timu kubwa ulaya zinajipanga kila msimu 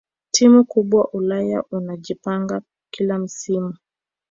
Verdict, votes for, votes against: rejected, 1, 2